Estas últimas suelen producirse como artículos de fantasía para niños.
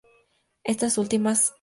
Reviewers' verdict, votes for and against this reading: rejected, 0, 6